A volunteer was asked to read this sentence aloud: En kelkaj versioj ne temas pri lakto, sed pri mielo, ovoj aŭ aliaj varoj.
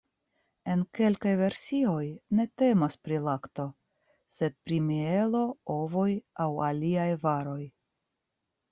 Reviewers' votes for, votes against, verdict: 2, 0, accepted